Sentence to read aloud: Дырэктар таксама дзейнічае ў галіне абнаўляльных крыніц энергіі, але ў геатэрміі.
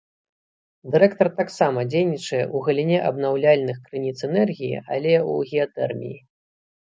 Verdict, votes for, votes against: accepted, 2, 1